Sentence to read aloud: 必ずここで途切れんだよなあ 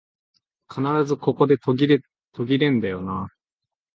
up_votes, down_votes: 0, 2